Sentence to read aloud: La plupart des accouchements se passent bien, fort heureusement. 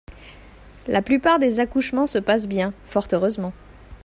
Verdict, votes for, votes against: accepted, 2, 0